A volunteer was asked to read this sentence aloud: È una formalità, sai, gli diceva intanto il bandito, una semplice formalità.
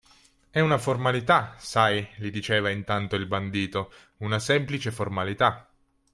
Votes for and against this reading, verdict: 2, 0, accepted